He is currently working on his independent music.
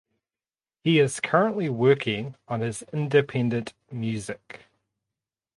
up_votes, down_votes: 2, 0